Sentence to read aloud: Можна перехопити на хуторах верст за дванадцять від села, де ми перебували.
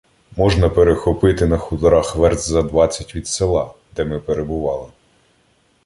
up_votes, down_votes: 1, 2